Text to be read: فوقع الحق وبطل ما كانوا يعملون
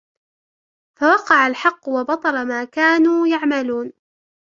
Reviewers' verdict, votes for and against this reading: rejected, 1, 2